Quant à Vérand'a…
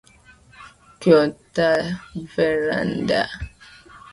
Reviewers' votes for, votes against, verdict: 1, 2, rejected